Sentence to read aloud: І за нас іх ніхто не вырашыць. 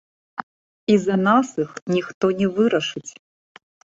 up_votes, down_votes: 2, 0